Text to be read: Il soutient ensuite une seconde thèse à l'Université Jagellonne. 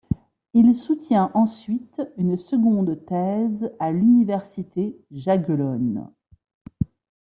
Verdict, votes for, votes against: accepted, 2, 0